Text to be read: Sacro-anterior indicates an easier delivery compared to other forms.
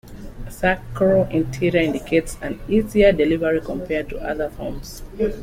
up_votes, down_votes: 0, 2